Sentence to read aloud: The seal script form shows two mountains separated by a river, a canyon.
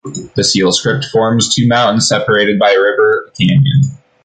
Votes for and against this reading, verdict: 0, 2, rejected